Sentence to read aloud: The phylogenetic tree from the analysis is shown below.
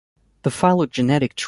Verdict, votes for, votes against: rejected, 0, 2